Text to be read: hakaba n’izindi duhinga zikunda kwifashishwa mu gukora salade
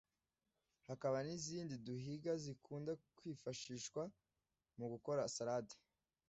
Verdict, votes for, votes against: accepted, 2, 1